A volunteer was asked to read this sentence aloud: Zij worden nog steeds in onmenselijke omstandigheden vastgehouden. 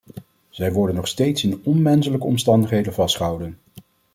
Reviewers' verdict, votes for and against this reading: accepted, 2, 0